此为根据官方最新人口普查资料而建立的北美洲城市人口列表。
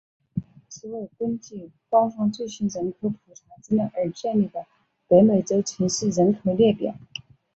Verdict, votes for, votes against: accepted, 5, 2